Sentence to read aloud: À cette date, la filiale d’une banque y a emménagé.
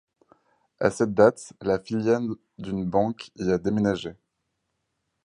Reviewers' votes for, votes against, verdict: 4, 2, accepted